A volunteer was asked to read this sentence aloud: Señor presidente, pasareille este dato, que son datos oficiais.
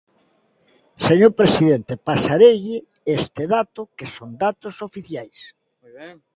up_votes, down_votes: 0, 2